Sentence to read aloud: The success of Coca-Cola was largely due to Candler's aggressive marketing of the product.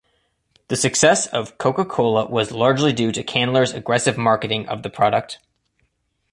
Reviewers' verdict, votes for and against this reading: accepted, 2, 0